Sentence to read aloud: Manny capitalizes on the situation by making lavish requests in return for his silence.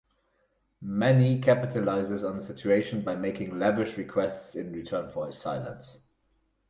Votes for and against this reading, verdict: 4, 2, accepted